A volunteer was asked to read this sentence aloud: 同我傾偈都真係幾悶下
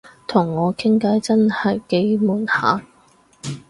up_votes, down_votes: 0, 4